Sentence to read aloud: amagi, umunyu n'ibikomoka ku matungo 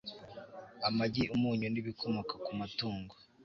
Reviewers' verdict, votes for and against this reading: accepted, 2, 0